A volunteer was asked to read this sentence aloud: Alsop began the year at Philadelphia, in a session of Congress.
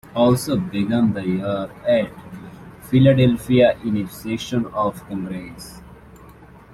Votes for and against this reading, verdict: 2, 0, accepted